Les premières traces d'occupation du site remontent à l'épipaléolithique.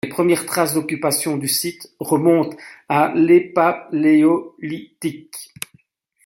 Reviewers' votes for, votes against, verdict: 0, 2, rejected